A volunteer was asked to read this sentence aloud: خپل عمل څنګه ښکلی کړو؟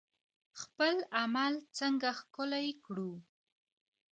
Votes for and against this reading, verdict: 1, 2, rejected